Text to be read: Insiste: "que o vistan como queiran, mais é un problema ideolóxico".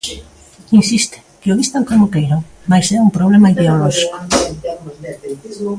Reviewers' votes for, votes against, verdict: 0, 2, rejected